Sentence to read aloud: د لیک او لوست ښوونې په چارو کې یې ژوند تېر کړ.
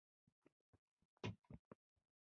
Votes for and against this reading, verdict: 0, 2, rejected